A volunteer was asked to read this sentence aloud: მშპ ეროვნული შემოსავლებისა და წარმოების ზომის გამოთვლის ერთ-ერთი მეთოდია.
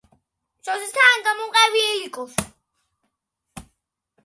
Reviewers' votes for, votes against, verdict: 0, 2, rejected